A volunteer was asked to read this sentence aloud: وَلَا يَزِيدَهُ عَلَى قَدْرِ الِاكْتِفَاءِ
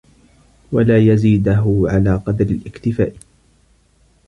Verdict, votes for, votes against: accepted, 3, 2